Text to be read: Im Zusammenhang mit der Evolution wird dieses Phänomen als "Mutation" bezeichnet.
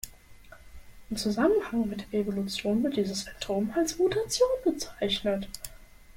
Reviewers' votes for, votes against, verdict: 0, 2, rejected